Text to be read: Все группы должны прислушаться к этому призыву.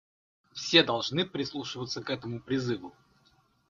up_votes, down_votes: 0, 2